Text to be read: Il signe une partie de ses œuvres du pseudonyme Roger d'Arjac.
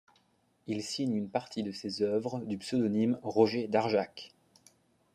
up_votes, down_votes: 2, 0